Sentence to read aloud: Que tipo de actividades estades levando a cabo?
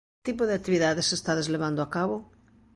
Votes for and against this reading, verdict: 0, 3, rejected